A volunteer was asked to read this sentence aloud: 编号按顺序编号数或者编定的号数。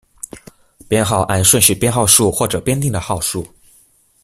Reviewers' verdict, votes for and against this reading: accepted, 2, 0